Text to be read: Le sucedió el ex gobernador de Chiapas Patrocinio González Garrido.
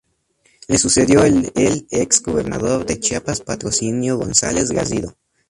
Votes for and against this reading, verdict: 0, 2, rejected